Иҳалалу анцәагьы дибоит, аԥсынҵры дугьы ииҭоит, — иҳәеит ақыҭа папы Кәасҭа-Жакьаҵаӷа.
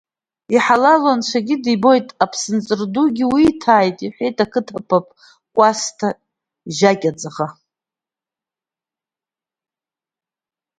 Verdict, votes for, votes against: rejected, 0, 2